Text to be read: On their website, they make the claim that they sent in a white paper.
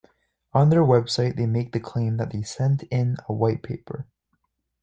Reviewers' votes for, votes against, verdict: 2, 0, accepted